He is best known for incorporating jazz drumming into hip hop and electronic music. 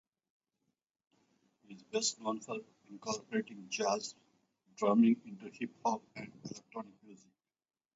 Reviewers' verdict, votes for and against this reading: rejected, 0, 4